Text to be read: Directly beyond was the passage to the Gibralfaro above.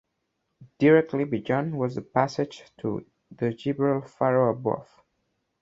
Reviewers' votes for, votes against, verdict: 0, 2, rejected